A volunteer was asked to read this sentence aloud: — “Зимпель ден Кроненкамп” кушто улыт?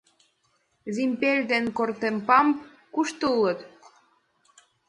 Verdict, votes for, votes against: rejected, 1, 2